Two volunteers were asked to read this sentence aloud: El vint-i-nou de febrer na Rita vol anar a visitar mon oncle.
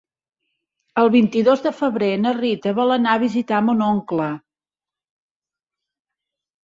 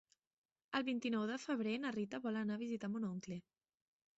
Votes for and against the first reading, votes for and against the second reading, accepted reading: 0, 2, 2, 1, second